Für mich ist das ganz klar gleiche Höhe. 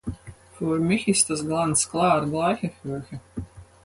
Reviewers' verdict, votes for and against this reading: accepted, 4, 0